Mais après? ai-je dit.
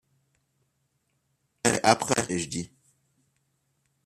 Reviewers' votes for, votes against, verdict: 1, 2, rejected